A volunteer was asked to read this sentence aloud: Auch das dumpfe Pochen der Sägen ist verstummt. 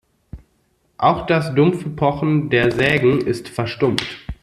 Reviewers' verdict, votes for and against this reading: rejected, 1, 2